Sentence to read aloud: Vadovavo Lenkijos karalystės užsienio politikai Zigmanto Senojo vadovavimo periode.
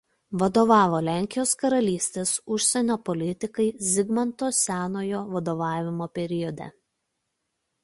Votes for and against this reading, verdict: 2, 0, accepted